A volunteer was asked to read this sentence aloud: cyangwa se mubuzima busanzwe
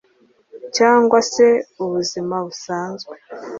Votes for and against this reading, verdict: 2, 0, accepted